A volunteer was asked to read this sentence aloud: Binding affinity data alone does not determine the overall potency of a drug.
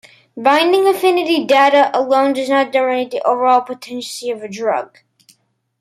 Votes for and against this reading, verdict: 1, 2, rejected